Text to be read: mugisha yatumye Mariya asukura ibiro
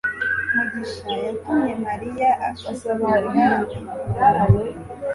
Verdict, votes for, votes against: accepted, 3, 0